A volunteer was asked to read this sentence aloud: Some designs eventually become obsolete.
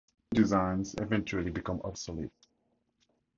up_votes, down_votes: 0, 4